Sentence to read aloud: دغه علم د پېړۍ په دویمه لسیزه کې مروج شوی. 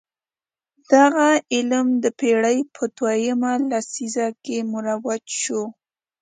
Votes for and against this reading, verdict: 1, 2, rejected